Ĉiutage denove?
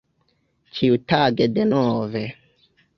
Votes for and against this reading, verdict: 2, 1, accepted